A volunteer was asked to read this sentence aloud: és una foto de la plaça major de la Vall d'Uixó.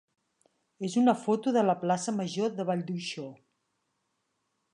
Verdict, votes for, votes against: rejected, 1, 2